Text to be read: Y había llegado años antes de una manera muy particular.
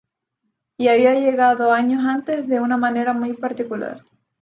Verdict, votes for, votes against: accepted, 2, 0